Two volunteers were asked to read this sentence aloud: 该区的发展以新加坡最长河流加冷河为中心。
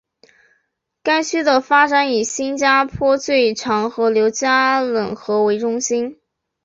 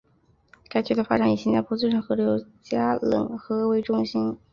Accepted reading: first